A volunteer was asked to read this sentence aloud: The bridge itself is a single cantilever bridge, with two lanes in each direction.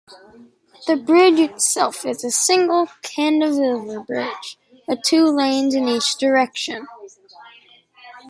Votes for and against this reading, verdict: 0, 2, rejected